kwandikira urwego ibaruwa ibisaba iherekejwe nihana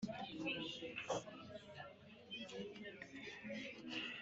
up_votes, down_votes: 2, 3